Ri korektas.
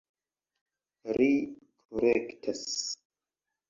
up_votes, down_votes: 1, 2